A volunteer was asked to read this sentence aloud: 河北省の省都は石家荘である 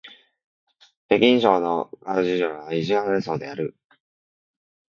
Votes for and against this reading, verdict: 0, 2, rejected